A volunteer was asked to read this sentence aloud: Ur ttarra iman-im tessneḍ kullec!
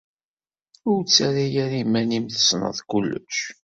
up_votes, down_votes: 1, 2